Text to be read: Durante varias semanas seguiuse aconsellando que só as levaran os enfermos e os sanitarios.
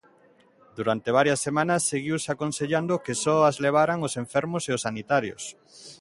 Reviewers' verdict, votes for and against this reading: accepted, 2, 0